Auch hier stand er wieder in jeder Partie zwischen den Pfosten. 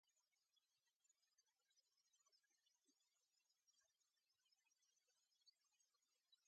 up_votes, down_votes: 0, 2